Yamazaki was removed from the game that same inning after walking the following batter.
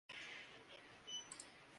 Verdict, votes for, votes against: rejected, 0, 2